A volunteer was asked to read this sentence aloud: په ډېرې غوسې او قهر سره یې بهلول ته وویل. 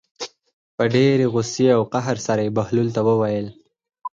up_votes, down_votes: 0, 4